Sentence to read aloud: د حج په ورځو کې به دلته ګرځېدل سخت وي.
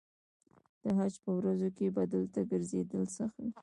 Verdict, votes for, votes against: rejected, 1, 2